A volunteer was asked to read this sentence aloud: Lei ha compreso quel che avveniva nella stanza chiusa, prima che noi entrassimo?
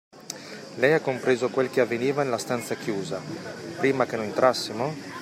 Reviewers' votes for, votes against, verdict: 0, 2, rejected